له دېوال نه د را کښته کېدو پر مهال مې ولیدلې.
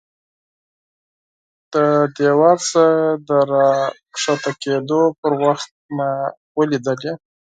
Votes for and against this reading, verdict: 0, 4, rejected